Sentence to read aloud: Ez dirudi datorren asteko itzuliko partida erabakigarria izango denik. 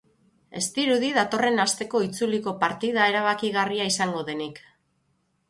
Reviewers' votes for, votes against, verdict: 9, 0, accepted